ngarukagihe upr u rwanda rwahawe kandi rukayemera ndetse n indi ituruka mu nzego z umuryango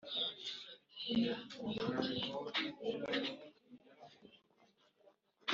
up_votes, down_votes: 0, 2